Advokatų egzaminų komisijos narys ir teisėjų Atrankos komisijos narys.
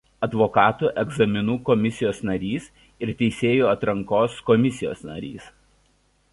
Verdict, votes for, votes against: accepted, 2, 0